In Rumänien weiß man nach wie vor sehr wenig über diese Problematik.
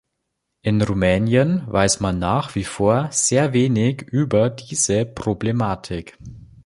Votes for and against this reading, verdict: 3, 0, accepted